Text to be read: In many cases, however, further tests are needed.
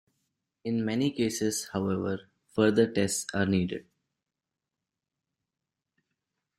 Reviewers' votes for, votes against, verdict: 2, 0, accepted